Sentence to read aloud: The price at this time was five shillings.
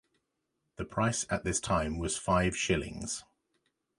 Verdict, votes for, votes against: accepted, 2, 0